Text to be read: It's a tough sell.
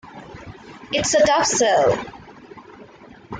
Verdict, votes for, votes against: rejected, 0, 2